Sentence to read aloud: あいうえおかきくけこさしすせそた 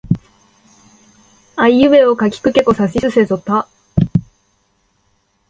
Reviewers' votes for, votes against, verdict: 2, 0, accepted